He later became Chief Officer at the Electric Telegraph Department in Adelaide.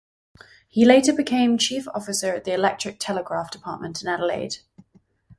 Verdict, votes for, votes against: rejected, 2, 2